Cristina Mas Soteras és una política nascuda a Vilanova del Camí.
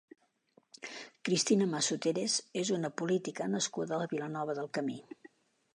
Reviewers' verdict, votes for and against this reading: rejected, 0, 2